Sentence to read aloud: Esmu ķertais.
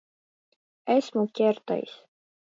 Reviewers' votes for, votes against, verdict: 1, 2, rejected